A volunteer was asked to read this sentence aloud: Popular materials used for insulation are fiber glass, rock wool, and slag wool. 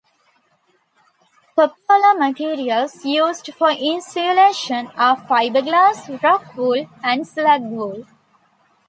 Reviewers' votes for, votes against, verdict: 2, 0, accepted